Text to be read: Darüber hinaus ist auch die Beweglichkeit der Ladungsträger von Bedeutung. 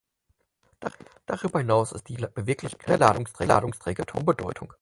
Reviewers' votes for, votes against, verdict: 0, 4, rejected